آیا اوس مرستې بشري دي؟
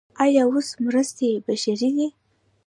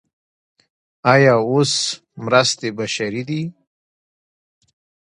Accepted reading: second